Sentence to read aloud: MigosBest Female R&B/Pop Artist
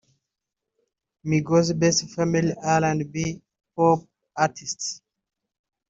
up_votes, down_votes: 1, 2